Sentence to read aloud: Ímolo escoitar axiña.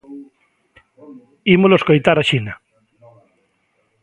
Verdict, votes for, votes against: rejected, 0, 2